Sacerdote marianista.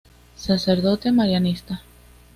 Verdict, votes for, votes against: accepted, 2, 0